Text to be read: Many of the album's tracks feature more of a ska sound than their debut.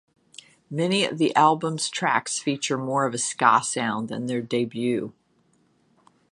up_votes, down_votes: 3, 0